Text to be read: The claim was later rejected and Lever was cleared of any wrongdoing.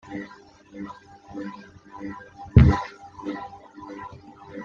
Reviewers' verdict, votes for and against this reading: rejected, 0, 2